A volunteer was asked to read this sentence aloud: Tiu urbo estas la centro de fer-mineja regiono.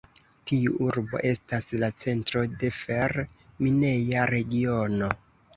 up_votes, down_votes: 2, 1